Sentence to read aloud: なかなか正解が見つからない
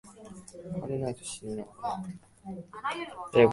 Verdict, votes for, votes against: rejected, 0, 2